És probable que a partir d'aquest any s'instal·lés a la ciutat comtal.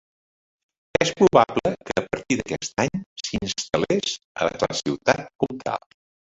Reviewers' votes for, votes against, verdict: 1, 2, rejected